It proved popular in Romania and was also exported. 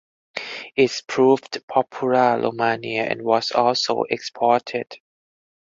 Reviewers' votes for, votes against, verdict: 2, 4, rejected